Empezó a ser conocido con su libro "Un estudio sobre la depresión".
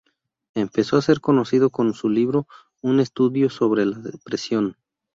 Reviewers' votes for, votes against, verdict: 0, 2, rejected